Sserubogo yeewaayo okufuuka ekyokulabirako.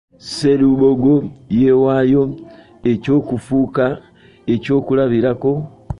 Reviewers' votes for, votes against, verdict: 1, 2, rejected